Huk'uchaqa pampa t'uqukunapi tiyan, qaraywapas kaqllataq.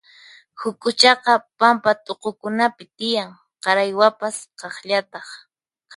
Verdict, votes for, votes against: accepted, 4, 0